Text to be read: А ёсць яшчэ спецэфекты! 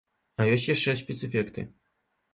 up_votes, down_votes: 2, 0